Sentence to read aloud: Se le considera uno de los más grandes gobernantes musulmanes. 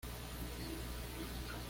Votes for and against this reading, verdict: 1, 2, rejected